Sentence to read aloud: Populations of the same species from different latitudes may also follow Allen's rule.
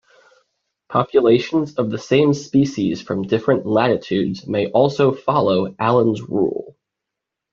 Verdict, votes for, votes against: accepted, 2, 0